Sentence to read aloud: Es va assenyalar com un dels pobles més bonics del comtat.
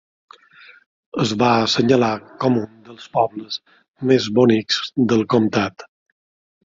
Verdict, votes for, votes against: accepted, 2, 0